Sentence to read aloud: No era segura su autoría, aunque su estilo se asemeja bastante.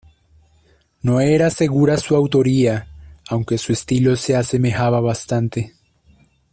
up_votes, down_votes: 1, 2